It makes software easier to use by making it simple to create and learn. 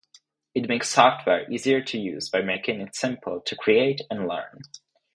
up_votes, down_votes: 0, 2